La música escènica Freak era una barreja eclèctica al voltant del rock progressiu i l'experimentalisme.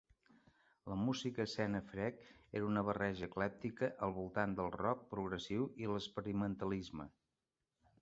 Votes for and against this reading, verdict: 0, 2, rejected